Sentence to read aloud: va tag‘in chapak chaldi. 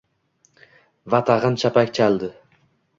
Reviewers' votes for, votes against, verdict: 2, 1, accepted